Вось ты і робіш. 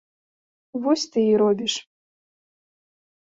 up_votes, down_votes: 2, 0